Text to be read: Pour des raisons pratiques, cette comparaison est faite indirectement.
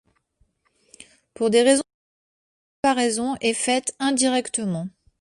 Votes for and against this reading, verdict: 0, 2, rejected